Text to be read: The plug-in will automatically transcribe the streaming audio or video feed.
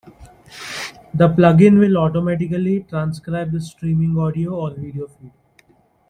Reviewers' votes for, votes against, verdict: 2, 0, accepted